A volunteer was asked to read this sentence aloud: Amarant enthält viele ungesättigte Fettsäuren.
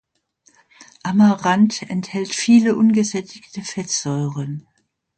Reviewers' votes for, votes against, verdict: 2, 0, accepted